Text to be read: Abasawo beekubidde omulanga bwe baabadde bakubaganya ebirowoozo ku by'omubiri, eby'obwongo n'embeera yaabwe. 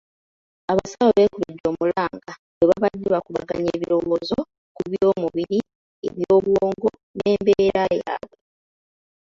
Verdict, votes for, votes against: rejected, 1, 2